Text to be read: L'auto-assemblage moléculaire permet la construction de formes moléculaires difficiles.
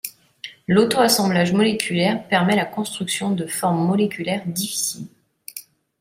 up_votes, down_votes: 2, 0